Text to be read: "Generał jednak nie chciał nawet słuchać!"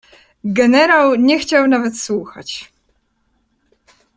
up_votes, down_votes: 0, 2